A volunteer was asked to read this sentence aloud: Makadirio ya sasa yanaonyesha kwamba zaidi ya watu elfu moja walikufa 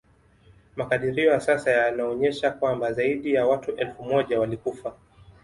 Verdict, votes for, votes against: accepted, 2, 0